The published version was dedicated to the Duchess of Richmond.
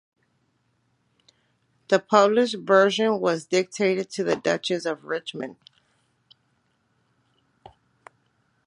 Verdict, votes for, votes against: accepted, 2, 1